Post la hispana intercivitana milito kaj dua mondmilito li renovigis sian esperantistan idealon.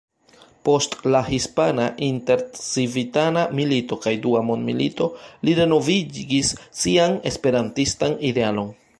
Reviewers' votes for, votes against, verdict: 1, 2, rejected